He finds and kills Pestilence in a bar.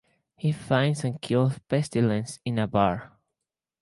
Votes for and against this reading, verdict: 2, 2, rejected